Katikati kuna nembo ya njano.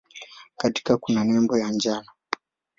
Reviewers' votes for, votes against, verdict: 4, 3, accepted